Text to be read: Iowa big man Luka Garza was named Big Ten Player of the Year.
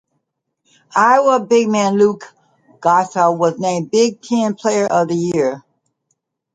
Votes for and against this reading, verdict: 0, 2, rejected